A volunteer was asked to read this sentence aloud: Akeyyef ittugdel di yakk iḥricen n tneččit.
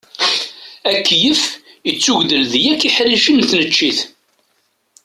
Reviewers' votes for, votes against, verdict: 2, 0, accepted